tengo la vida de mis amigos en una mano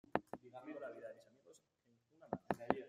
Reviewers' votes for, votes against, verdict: 0, 2, rejected